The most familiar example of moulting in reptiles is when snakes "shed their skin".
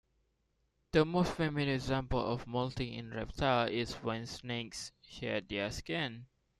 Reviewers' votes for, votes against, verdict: 2, 1, accepted